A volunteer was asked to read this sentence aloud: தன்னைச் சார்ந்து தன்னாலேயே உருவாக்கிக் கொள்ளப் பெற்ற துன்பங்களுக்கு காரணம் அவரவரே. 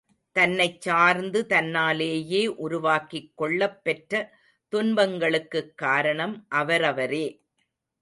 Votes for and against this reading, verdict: 1, 2, rejected